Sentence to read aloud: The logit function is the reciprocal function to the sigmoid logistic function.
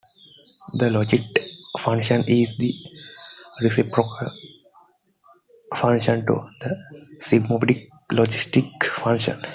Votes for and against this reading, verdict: 1, 2, rejected